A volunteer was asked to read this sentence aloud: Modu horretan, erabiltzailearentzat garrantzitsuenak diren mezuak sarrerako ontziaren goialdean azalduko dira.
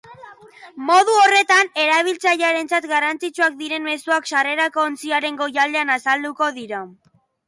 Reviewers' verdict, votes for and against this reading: rejected, 1, 2